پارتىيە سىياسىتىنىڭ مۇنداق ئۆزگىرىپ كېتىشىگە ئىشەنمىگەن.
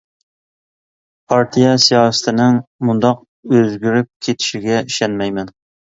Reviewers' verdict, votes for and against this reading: rejected, 0, 2